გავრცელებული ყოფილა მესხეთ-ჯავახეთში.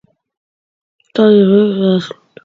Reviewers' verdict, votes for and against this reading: rejected, 0, 2